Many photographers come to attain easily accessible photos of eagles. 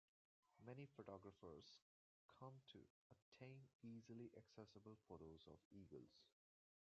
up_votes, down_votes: 0, 2